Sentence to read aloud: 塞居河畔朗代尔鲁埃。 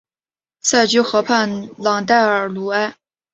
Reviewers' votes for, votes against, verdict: 5, 0, accepted